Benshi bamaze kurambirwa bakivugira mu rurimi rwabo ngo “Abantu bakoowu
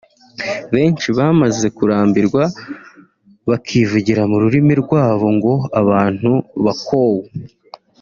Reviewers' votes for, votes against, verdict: 2, 1, accepted